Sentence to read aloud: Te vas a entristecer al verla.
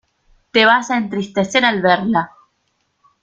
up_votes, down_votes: 0, 2